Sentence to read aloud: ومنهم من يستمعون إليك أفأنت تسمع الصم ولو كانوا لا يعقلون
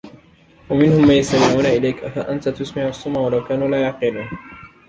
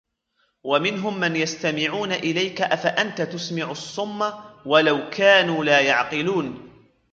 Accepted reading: first